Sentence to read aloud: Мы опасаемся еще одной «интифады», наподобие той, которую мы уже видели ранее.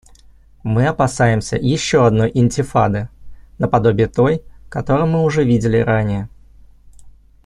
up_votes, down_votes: 2, 0